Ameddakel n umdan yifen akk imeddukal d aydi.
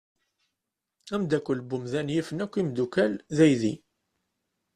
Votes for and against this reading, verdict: 2, 0, accepted